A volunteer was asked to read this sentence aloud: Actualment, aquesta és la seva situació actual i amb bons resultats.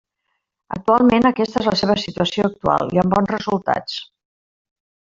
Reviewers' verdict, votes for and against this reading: rejected, 1, 2